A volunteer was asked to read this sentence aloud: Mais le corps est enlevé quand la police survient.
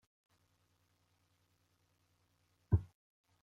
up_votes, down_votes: 0, 2